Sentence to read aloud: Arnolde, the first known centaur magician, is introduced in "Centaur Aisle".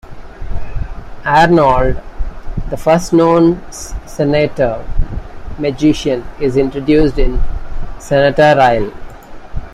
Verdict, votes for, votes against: accepted, 2, 0